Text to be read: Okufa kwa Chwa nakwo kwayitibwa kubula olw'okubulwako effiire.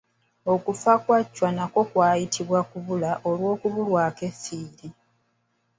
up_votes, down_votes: 0, 2